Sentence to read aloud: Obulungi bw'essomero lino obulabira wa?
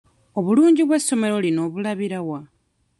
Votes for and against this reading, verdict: 1, 2, rejected